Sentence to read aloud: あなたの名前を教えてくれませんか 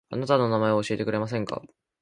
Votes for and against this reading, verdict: 2, 0, accepted